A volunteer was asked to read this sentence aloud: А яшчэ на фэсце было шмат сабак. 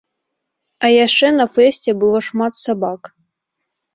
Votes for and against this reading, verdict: 2, 0, accepted